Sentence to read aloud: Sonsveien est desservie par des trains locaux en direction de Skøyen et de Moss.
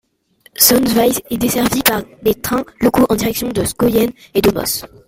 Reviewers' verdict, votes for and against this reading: accepted, 2, 1